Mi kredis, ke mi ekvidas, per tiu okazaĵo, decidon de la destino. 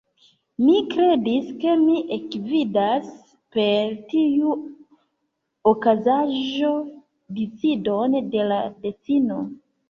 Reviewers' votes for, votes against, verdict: 1, 2, rejected